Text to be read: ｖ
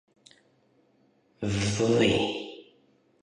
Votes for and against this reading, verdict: 0, 2, rejected